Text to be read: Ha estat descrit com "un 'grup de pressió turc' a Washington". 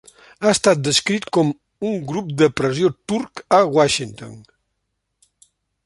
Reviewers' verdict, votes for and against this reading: accepted, 2, 0